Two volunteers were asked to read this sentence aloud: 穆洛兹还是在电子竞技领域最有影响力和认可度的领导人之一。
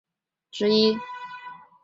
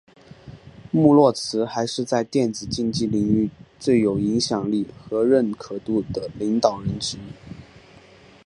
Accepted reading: second